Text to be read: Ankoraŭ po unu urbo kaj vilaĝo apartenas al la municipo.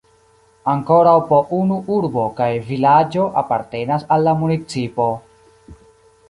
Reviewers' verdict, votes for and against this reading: rejected, 1, 2